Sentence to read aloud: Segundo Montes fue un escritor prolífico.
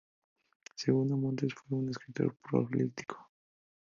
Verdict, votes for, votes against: accepted, 2, 0